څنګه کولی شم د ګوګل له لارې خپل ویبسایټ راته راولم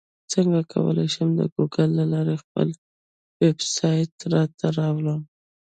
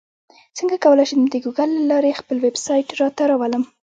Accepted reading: first